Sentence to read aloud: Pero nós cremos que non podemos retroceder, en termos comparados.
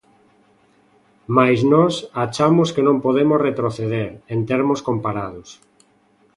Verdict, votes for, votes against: rejected, 0, 2